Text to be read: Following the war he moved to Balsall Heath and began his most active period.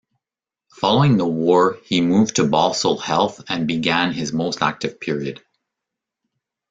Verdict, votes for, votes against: rejected, 1, 2